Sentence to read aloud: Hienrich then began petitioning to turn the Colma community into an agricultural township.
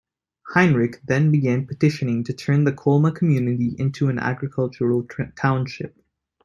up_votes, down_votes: 2, 1